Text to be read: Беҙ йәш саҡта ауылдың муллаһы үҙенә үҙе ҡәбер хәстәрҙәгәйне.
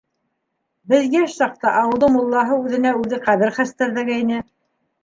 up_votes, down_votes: 2, 0